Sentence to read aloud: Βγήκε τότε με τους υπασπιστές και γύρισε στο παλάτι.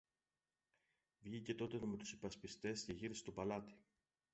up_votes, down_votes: 1, 2